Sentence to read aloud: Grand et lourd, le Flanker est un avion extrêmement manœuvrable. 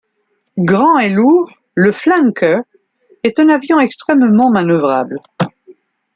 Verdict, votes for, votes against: accepted, 3, 0